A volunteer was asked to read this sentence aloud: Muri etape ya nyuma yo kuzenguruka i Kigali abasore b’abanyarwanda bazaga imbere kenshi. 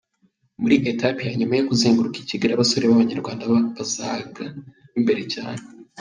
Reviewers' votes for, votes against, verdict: 1, 2, rejected